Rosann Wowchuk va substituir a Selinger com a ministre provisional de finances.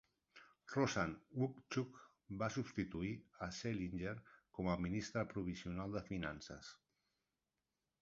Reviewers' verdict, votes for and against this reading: rejected, 1, 2